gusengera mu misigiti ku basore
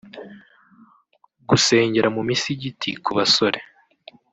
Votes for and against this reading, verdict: 1, 2, rejected